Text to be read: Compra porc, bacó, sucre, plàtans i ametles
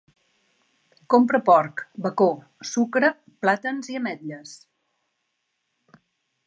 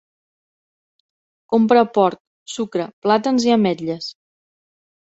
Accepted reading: first